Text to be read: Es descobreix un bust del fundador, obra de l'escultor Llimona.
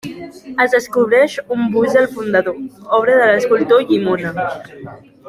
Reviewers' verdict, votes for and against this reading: accepted, 2, 1